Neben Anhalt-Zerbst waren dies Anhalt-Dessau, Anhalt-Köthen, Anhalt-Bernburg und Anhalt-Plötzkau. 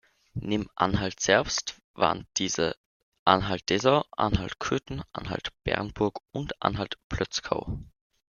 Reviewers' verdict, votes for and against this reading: rejected, 1, 2